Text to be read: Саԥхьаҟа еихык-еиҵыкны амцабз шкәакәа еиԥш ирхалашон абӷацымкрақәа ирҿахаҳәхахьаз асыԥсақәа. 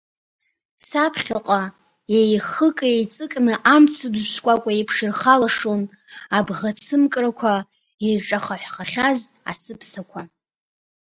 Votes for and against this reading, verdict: 1, 2, rejected